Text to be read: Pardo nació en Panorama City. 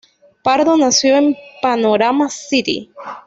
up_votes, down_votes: 1, 2